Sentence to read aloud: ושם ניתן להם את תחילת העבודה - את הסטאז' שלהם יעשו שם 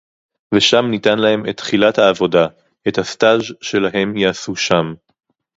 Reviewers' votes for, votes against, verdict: 2, 2, rejected